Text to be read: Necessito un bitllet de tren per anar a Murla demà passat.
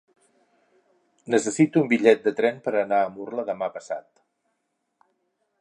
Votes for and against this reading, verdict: 6, 0, accepted